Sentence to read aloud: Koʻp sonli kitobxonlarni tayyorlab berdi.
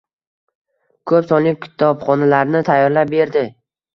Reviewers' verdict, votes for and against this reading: accepted, 2, 0